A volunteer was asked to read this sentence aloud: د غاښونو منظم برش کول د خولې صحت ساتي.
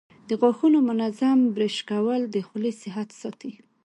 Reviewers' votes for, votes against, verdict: 2, 0, accepted